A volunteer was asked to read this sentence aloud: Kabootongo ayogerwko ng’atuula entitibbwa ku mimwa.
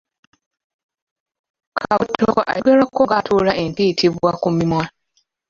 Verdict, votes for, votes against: rejected, 0, 2